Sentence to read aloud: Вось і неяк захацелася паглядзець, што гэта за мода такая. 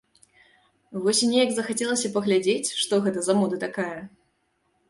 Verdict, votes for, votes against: accepted, 2, 0